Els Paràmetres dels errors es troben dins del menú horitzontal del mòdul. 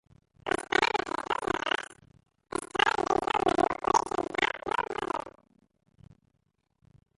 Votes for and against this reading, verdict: 0, 2, rejected